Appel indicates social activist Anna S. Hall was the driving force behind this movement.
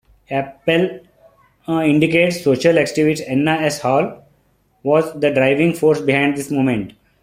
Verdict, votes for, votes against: accepted, 2, 1